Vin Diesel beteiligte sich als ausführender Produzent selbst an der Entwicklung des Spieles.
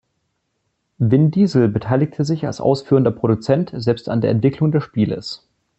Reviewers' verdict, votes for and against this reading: accepted, 2, 0